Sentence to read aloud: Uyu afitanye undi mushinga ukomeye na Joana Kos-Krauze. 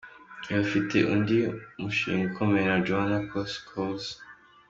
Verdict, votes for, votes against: accepted, 2, 1